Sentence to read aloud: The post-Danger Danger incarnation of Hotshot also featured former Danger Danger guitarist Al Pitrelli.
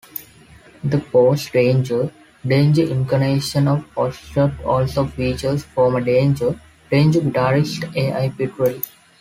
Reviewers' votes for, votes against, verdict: 0, 2, rejected